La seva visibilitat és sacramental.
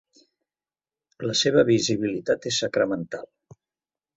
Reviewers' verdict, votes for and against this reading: accepted, 2, 0